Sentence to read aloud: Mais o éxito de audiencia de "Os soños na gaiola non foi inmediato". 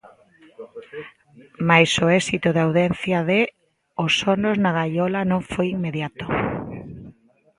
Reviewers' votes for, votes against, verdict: 0, 2, rejected